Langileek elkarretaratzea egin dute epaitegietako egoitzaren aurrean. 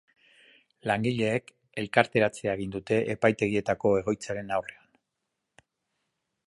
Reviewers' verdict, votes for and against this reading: rejected, 1, 3